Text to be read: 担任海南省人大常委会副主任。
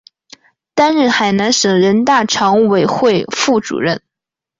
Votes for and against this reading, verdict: 4, 0, accepted